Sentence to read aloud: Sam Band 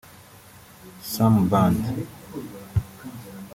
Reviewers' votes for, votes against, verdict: 1, 2, rejected